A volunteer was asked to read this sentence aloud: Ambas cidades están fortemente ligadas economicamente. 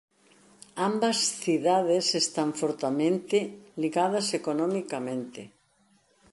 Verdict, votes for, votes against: rejected, 0, 2